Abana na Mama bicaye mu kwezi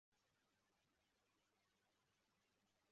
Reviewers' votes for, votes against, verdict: 0, 2, rejected